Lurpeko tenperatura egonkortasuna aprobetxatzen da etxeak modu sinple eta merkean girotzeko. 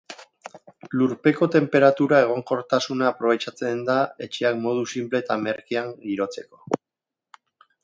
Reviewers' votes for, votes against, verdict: 2, 2, rejected